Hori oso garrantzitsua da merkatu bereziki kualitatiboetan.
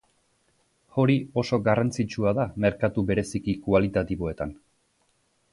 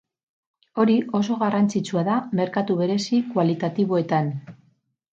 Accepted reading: first